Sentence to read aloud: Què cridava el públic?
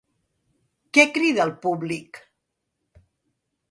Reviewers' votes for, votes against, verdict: 0, 2, rejected